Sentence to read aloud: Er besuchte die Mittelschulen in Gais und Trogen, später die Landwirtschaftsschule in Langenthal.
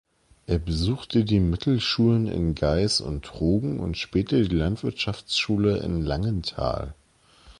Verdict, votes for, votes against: rejected, 1, 2